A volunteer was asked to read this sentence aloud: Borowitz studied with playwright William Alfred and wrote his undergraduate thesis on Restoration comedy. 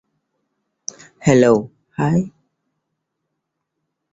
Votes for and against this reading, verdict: 0, 2, rejected